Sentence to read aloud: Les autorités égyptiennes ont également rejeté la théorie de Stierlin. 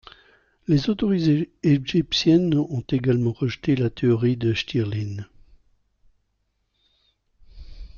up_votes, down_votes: 1, 2